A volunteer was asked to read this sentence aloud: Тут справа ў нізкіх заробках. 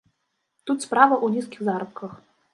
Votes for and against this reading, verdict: 0, 2, rejected